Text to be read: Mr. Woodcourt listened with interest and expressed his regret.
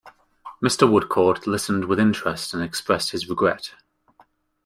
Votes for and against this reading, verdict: 2, 0, accepted